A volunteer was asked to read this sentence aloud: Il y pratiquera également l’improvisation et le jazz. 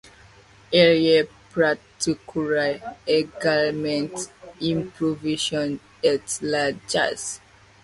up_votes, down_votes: 2, 1